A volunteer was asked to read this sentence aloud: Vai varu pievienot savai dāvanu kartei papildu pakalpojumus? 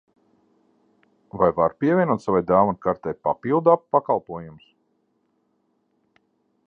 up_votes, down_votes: 0, 2